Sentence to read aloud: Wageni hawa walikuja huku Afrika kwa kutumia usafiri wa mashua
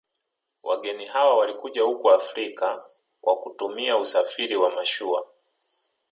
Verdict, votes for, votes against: rejected, 1, 2